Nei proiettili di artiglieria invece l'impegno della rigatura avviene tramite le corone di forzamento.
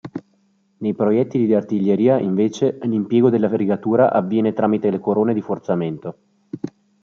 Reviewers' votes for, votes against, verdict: 2, 1, accepted